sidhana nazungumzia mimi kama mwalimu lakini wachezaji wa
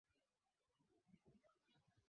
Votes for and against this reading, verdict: 0, 2, rejected